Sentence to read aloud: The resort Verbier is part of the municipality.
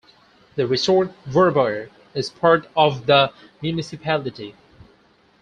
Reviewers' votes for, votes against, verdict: 4, 2, accepted